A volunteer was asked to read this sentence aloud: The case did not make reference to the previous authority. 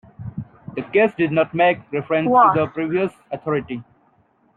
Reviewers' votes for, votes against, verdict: 1, 2, rejected